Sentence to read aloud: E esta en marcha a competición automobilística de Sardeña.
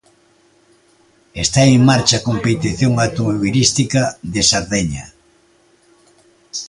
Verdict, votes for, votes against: accepted, 2, 0